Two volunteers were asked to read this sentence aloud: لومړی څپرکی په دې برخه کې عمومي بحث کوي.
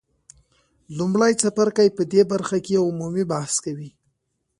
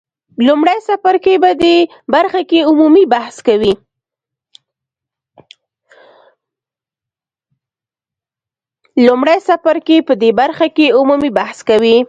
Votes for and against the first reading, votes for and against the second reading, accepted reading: 2, 0, 1, 2, first